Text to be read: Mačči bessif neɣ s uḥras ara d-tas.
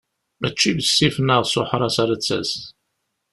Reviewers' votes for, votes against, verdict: 2, 0, accepted